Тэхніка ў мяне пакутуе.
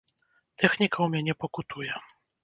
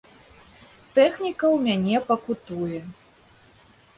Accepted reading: second